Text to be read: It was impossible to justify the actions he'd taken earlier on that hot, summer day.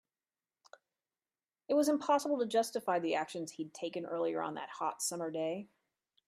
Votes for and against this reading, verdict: 2, 0, accepted